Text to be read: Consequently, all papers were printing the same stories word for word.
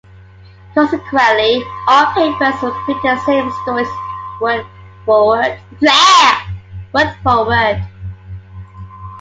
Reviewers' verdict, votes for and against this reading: rejected, 1, 2